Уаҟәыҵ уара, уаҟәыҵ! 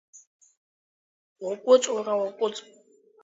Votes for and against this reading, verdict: 4, 1, accepted